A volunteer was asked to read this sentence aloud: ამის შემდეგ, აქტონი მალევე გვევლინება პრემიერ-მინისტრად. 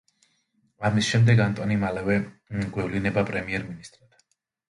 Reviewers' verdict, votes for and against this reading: rejected, 1, 2